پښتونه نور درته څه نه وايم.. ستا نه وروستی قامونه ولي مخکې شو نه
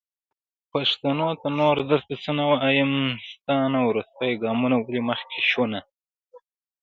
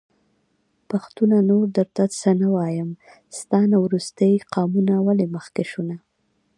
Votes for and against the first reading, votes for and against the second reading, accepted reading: 1, 2, 2, 1, second